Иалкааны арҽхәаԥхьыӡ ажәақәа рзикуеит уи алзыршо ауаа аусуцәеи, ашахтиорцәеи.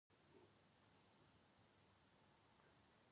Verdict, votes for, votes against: rejected, 0, 2